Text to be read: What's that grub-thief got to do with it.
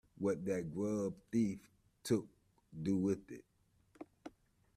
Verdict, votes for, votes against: rejected, 0, 2